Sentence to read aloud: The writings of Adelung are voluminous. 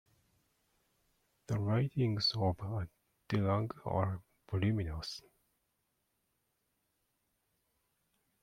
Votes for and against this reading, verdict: 0, 2, rejected